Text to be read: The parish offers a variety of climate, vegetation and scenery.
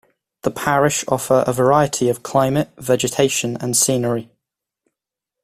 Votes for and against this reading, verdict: 1, 2, rejected